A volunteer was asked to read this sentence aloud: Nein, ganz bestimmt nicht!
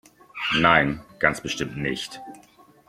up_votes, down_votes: 2, 0